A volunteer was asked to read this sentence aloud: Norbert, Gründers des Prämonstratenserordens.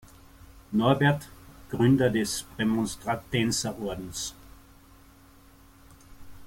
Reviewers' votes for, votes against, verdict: 0, 2, rejected